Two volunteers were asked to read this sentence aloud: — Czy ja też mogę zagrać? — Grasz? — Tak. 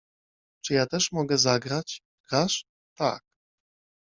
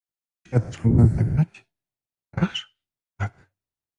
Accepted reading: first